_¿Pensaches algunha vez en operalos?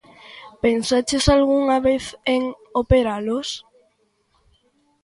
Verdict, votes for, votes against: accepted, 2, 0